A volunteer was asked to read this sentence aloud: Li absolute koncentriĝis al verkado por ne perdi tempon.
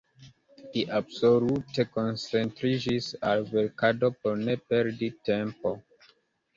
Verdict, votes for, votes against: accepted, 2, 0